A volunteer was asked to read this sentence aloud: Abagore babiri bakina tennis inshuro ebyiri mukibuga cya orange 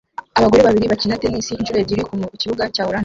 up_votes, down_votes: 0, 2